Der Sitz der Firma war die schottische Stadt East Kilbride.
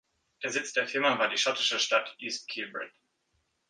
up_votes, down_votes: 1, 2